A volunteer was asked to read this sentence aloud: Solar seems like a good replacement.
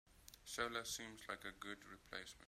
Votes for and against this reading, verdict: 3, 0, accepted